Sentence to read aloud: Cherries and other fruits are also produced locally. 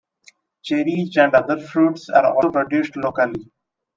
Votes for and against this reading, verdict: 2, 0, accepted